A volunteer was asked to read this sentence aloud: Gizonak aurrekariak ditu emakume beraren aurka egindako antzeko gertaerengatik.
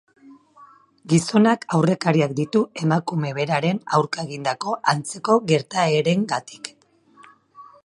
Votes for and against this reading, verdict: 2, 2, rejected